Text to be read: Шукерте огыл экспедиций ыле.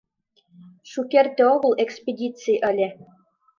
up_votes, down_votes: 2, 0